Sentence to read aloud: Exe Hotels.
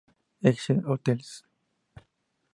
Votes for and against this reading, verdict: 0, 2, rejected